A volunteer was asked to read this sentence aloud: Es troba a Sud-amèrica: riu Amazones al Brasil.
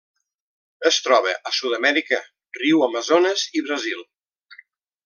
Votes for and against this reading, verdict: 1, 2, rejected